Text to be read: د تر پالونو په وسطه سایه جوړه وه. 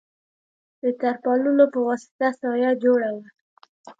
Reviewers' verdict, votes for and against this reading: accepted, 2, 0